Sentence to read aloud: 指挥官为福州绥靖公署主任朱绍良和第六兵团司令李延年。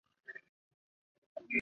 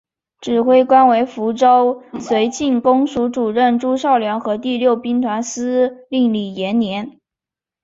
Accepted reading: second